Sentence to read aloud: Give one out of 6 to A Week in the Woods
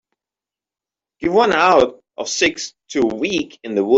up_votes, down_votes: 0, 2